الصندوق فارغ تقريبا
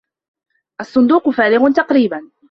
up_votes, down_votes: 2, 0